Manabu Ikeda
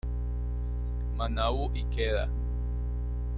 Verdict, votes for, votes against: rejected, 1, 2